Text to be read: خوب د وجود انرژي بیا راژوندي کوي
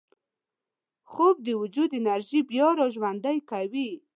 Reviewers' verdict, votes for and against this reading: accepted, 2, 0